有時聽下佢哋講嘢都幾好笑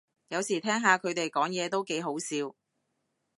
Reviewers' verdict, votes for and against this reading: accepted, 2, 0